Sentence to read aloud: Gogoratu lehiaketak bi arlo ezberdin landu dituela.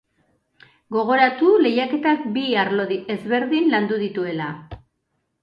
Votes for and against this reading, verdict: 2, 0, accepted